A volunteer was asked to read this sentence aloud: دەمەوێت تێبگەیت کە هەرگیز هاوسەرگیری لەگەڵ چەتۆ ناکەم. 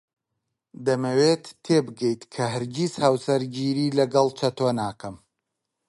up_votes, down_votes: 5, 0